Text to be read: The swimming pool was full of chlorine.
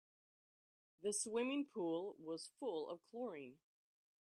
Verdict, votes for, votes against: accepted, 2, 0